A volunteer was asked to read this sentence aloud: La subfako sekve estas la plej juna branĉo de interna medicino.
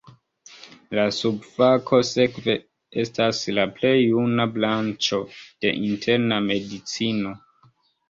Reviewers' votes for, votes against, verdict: 0, 2, rejected